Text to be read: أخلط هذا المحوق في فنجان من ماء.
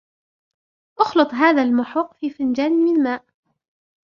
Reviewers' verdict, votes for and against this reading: rejected, 0, 2